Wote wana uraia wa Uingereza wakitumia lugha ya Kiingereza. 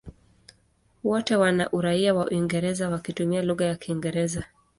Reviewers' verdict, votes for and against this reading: accepted, 2, 1